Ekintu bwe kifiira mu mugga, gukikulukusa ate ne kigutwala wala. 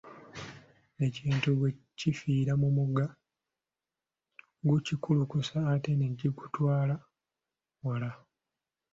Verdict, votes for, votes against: accepted, 2, 0